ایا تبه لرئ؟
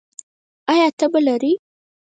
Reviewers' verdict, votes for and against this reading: rejected, 2, 4